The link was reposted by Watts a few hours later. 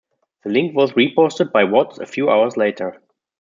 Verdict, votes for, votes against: accepted, 2, 1